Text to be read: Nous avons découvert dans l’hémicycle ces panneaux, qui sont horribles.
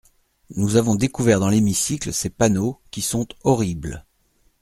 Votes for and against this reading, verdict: 2, 0, accepted